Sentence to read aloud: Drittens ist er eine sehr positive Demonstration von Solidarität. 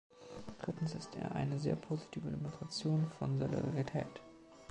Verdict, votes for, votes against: rejected, 1, 2